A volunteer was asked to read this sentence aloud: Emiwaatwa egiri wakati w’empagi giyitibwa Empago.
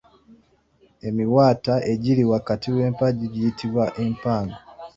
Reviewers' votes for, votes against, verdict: 2, 0, accepted